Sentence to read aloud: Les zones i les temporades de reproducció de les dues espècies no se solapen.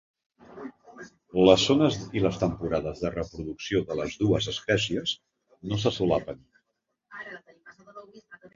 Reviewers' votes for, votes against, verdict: 2, 0, accepted